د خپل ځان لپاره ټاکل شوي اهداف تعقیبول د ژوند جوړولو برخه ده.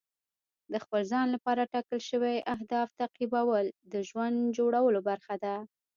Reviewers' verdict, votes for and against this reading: rejected, 1, 2